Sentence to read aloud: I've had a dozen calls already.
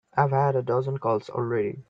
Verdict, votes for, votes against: accepted, 2, 0